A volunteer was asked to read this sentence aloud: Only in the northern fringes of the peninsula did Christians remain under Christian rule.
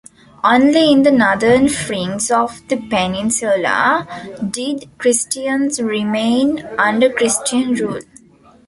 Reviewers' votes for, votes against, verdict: 0, 2, rejected